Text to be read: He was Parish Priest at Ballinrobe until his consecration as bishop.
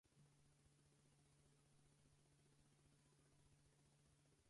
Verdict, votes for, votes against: rejected, 0, 4